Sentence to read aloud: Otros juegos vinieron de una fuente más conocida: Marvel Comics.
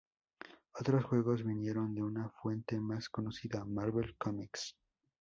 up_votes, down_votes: 2, 2